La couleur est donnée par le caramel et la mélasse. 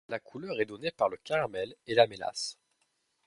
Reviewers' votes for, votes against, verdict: 2, 0, accepted